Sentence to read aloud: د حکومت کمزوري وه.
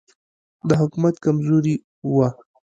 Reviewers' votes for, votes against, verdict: 2, 0, accepted